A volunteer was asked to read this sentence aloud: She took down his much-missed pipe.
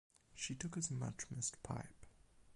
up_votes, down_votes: 4, 8